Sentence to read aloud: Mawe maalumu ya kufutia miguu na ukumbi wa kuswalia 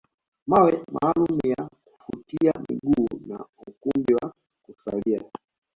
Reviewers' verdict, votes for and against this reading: rejected, 0, 2